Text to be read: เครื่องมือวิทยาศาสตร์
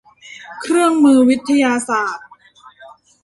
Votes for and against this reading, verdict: 1, 2, rejected